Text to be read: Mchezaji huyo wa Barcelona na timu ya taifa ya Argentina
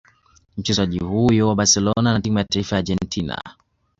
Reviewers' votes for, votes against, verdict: 1, 2, rejected